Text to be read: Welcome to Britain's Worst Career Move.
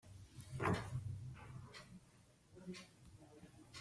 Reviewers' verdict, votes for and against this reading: rejected, 0, 2